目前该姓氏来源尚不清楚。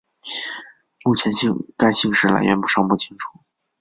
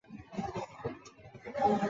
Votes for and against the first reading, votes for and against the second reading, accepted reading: 3, 1, 0, 4, first